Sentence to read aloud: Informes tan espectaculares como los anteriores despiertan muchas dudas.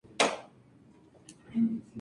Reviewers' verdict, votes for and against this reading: accepted, 2, 0